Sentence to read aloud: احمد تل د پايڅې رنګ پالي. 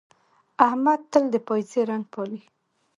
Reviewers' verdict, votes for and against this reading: accepted, 2, 0